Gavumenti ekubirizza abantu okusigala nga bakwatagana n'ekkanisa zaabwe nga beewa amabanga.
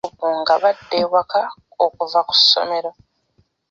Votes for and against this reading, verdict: 0, 2, rejected